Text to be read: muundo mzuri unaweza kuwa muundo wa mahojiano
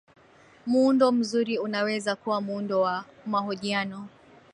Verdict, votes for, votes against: accepted, 6, 5